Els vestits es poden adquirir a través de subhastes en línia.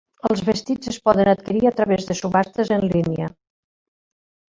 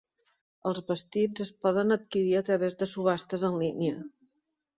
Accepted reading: second